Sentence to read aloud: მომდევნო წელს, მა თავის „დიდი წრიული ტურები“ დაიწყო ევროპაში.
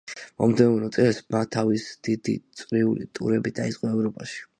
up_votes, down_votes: 2, 0